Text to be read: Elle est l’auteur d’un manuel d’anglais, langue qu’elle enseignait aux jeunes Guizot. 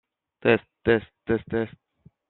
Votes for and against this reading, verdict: 0, 2, rejected